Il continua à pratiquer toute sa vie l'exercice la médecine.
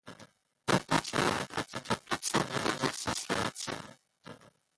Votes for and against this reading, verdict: 0, 3, rejected